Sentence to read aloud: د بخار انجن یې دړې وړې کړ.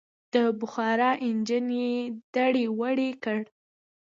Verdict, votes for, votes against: accepted, 2, 0